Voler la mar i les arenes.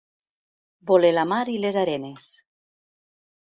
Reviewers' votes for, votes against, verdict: 3, 0, accepted